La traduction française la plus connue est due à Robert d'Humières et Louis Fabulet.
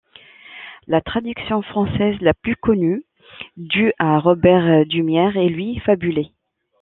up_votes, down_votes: 1, 2